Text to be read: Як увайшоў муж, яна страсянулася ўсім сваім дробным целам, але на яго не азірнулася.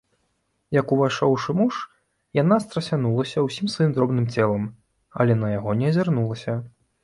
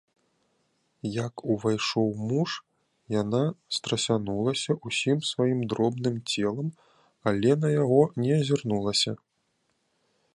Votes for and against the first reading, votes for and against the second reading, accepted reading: 1, 2, 2, 0, second